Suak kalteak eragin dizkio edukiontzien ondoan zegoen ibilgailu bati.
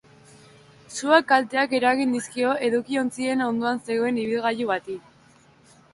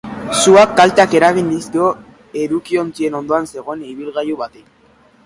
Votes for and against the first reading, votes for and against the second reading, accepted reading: 0, 2, 3, 1, second